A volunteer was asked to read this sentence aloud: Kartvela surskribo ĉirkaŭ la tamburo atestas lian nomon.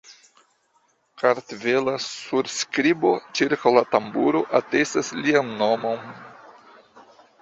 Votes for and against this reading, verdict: 3, 1, accepted